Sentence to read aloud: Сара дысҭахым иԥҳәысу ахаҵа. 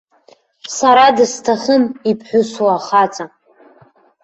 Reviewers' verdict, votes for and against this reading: rejected, 0, 2